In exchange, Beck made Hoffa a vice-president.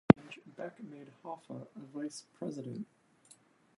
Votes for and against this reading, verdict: 0, 2, rejected